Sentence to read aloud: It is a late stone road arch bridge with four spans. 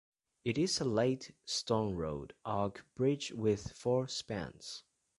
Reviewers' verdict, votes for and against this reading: rejected, 1, 2